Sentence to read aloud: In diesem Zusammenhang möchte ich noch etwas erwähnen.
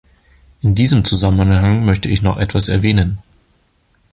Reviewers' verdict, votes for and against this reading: rejected, 0, 2